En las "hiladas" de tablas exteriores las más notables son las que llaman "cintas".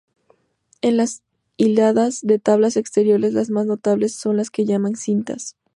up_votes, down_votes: 2, 0